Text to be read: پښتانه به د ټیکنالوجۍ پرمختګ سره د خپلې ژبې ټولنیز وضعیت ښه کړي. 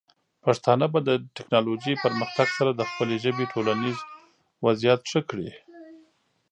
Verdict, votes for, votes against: rejected, 1, 2